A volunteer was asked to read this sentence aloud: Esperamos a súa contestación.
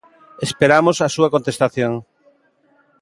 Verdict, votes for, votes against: accepted, 2, 0